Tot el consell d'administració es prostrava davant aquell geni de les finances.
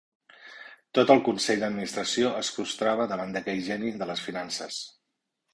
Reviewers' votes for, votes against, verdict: 1, 2, rejected